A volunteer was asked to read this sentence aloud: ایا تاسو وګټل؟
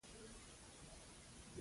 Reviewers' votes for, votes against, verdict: 0, 2, rejected